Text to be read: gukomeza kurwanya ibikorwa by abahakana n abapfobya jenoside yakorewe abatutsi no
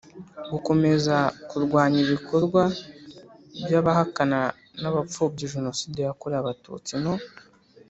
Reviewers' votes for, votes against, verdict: 3, 0, accepted